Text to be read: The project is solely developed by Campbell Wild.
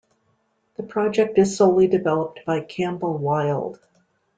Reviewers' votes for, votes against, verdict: 2, 0, accepted